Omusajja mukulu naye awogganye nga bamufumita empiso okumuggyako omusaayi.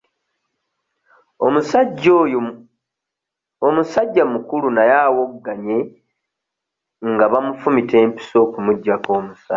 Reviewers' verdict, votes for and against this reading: rejected, 0, 2